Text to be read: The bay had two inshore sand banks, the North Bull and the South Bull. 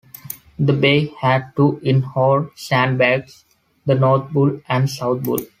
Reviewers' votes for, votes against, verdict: 1, 2, rejected